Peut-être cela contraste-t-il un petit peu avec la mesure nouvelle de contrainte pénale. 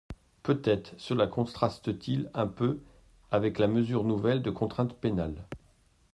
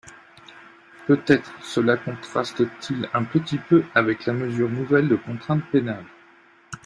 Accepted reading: second